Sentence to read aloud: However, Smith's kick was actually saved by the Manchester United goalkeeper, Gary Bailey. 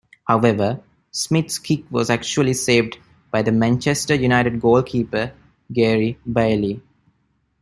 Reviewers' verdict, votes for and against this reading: accepted, 2, 0